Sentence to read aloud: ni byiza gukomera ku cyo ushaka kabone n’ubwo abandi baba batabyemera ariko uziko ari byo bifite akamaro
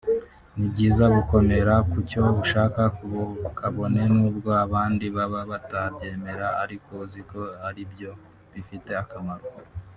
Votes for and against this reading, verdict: 2, 3, rejected